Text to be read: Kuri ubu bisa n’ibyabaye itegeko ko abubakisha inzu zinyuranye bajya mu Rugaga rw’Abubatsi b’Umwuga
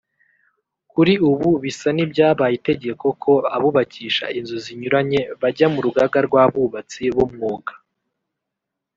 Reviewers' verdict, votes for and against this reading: rejected, 0, 2